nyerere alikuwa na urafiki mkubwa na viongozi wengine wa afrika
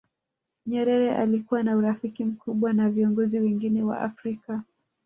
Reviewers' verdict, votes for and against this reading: rejected, 1, 2